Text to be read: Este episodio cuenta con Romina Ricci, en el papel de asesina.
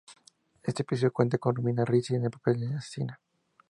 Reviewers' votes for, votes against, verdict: 2, 0, accepted